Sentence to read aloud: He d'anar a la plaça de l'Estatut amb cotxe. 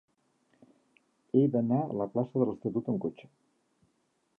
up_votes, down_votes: 2, 0